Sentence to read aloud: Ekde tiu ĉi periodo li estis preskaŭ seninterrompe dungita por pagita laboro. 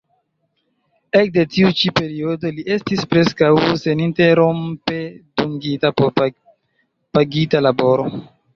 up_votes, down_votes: 1, 2